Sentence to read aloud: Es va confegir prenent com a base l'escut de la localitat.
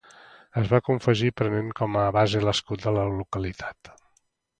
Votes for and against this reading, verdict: 2, 0, accepted